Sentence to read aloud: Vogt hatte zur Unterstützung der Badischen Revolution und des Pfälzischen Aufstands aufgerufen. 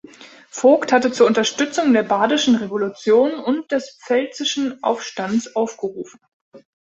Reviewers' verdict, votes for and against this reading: accepted, 2, 0